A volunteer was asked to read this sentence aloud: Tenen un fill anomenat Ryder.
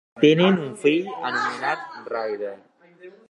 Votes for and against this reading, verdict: 2, 0, accepted